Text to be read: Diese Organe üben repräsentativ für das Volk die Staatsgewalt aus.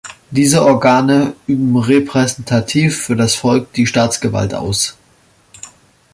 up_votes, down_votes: 2, 0